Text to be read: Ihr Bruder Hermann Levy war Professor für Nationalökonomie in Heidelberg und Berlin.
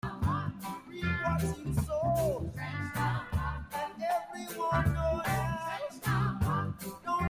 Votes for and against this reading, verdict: 0, 2, rejected